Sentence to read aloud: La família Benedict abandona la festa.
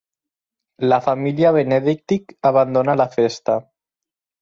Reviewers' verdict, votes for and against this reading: rejected, 0, 4